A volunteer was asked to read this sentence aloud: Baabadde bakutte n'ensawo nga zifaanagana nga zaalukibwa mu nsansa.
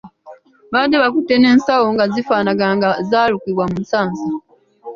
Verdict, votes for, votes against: rejected, 1, 2